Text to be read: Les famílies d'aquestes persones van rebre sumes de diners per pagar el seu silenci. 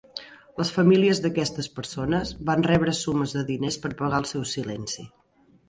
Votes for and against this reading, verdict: 3, 0, accepted